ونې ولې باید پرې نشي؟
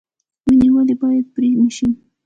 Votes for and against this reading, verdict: 1, 2, rejected